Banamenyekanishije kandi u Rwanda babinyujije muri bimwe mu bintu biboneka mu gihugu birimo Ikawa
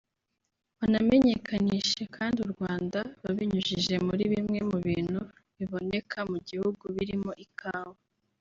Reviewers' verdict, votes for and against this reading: rejected, 0, 2